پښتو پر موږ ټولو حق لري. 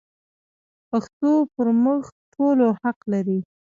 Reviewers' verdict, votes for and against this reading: accepted, 2, 0